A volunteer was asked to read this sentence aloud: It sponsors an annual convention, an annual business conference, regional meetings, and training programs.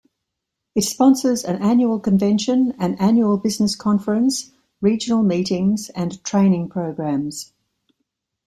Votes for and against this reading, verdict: 2, 0, accepted